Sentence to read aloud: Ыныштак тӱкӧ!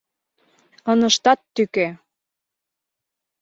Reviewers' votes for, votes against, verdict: 0, 2, rejected